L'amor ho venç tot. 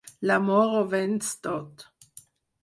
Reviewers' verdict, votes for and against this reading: accepted, 4, 2